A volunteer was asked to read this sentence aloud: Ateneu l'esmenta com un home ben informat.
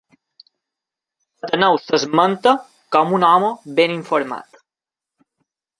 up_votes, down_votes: 2, 0